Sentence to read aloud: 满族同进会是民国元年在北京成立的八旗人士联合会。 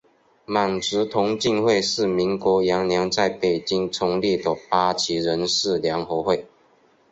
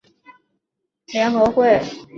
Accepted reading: first